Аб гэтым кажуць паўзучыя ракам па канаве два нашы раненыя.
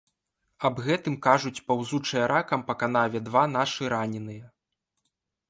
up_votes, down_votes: 3, 0